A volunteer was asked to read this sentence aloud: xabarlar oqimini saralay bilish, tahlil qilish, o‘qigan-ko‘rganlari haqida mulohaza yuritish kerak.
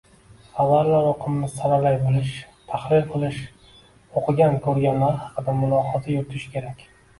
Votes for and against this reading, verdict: 1, 2, rejected